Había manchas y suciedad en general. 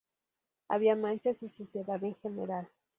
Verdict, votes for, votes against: accepted, 4, 0